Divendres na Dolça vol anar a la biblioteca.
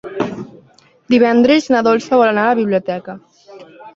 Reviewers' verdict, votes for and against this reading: accepted, 2, 0